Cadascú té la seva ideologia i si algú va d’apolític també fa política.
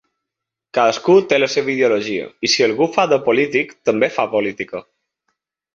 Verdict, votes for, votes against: rejected, 1, 2